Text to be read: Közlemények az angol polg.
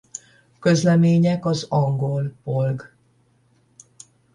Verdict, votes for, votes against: rejected, 5, 5